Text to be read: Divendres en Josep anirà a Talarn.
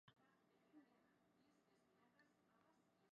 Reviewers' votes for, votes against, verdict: 0, 2, rejected